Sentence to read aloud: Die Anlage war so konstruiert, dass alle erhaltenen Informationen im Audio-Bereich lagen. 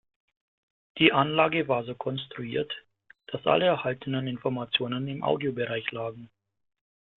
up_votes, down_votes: 1, 2